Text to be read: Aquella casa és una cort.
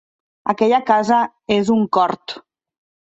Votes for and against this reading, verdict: 0, 2, rejected